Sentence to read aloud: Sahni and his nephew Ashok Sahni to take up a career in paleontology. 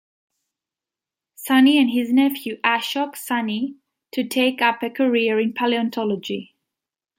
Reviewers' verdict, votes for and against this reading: accepted, 2, 0